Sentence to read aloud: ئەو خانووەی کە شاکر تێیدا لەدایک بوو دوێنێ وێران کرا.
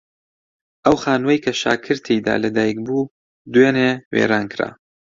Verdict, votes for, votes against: accepted, 2, 0